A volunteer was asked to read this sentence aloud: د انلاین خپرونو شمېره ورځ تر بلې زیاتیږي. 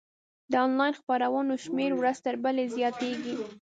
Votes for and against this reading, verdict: 0, 3, rejected